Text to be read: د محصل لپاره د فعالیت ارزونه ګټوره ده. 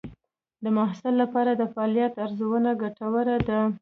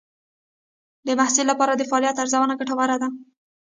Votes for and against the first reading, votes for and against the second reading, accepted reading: 2, 0, 0, 2, first